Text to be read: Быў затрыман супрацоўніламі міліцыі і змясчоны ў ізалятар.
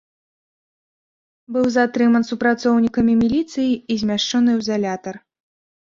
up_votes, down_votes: 1, 2